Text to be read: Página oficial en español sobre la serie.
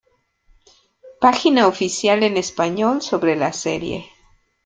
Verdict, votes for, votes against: accepted, 2, 0